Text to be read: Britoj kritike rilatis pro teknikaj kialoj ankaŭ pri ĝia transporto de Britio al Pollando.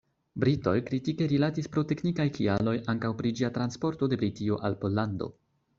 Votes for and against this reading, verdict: 2, 0, accepted